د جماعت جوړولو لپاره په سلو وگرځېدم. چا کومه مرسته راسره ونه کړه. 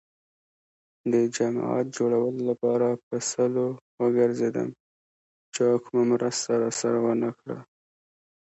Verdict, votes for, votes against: accepted, 2, 0